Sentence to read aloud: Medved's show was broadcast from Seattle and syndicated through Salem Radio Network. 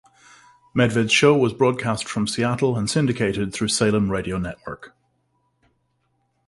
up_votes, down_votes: 2, 0